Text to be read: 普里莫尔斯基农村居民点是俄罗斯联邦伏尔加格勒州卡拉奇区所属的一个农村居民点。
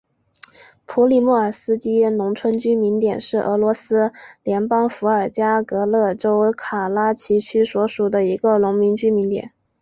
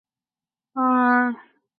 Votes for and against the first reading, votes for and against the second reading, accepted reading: 2, 1, 0, 3, first